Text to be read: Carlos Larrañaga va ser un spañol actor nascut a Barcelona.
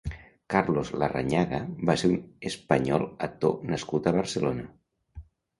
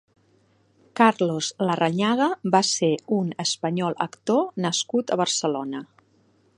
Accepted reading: second